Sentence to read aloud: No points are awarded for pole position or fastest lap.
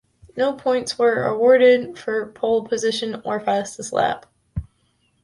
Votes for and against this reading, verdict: 1, 2, rejected